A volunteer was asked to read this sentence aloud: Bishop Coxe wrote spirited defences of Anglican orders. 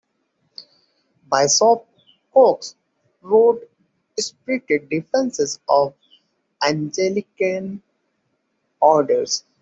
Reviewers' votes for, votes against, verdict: 2, 1, accepted